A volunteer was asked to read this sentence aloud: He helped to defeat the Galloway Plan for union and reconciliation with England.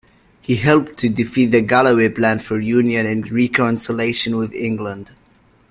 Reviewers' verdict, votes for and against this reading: rejected, 1, 2